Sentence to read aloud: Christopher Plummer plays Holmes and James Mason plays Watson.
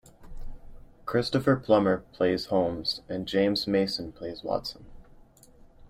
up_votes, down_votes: 2, 0